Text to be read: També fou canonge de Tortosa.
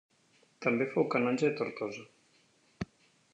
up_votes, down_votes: 2, 1